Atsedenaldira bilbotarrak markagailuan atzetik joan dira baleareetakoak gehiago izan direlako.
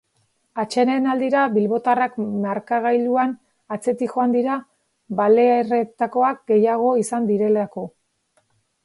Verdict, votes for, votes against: rejected, 0, 4